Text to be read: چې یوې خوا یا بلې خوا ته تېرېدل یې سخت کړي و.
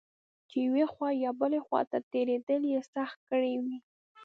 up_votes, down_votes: 2, 0